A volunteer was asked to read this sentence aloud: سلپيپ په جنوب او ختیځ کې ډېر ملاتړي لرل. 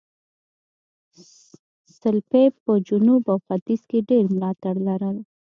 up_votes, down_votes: 2, 0